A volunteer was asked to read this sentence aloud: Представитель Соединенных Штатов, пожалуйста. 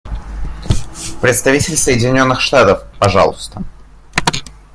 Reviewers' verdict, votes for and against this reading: accepted, 2, 0